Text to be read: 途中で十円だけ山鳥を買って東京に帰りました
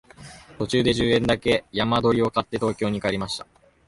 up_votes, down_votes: 2, 0